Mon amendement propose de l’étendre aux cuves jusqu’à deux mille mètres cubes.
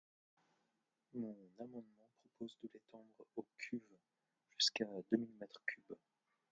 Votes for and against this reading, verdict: 1, 2, rejected